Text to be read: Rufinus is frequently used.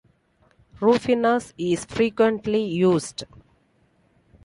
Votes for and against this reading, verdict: 2, 0, accepted